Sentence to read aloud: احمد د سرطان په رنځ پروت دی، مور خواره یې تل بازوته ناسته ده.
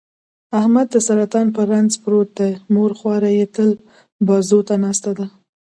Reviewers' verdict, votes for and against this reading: rejected, 0, 2